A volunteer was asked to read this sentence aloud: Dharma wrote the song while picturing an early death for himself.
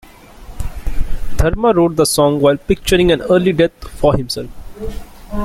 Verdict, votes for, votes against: rejected, 1, 2